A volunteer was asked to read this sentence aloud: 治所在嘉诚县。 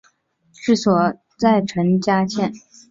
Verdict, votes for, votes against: rejected, 0, 2